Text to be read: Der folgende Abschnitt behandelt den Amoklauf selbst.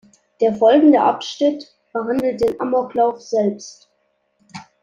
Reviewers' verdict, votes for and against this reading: accepted, 2, 0